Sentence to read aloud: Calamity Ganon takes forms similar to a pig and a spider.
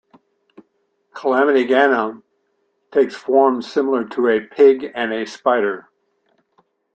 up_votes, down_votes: 2, 0